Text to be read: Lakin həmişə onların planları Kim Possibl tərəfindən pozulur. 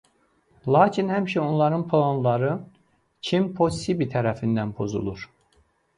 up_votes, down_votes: 2, 0